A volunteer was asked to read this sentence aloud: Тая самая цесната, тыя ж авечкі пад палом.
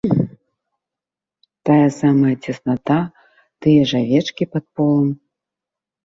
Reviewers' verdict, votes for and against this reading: rejected, 1, 2